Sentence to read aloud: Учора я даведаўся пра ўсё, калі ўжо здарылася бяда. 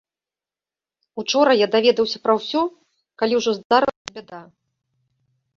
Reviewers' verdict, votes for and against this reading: rejected, 1, 2